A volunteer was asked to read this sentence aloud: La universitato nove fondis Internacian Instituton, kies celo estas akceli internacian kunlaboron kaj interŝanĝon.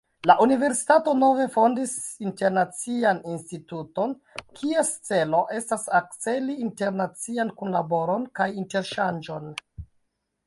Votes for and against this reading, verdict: 0, 2, rejected